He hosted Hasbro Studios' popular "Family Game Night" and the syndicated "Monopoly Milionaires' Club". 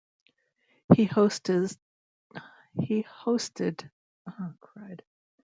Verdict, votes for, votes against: rejected, 1, 2